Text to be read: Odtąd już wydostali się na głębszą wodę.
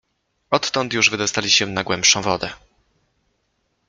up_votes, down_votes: 2, 0